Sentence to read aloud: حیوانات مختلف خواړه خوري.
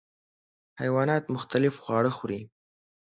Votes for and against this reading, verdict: 2, 0, accepted